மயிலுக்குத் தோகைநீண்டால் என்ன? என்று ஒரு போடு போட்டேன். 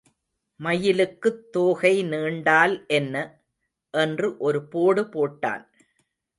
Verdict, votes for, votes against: rejected, 0, 2